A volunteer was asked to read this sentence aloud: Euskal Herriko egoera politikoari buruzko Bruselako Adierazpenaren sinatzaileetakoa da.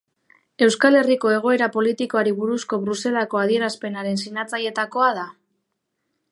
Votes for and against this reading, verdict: 1, 2, rejected